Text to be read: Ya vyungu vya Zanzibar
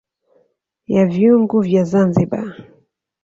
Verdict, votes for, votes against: accepted, 5, 0